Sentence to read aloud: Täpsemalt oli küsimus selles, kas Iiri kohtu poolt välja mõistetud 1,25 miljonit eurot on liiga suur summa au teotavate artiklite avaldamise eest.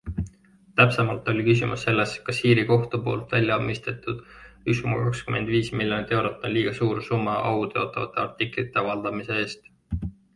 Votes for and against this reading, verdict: 0, 2, rejected